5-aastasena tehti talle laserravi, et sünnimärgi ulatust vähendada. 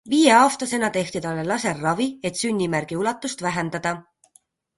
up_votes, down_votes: 0, 2